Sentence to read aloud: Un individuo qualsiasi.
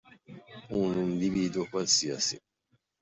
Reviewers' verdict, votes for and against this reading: accepted, 2, 1